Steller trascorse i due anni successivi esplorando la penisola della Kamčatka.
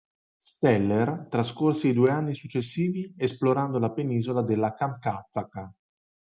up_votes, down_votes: 1, 2